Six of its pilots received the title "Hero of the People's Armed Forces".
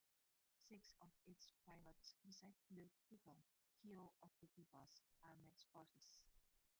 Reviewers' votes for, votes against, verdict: 0, 2, rejected